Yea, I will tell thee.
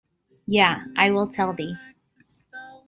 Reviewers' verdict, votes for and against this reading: accepted, 2, 0